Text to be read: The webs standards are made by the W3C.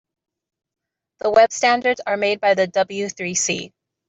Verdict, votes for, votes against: rejected, 0, 2